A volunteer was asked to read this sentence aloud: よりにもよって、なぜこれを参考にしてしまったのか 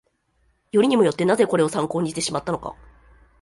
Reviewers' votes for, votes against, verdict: 1, 2, rejected